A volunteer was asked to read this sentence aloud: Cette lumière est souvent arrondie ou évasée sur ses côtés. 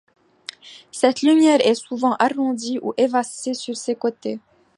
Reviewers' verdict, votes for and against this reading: accepted, 2, 0